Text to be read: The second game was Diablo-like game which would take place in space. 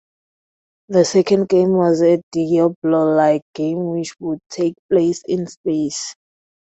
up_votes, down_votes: 2, 0